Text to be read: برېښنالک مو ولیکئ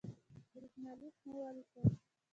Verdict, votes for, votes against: accepted, 2, 0